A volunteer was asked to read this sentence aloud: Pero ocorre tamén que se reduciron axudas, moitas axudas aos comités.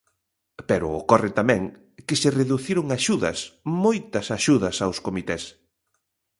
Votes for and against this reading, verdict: 2, 0, accepted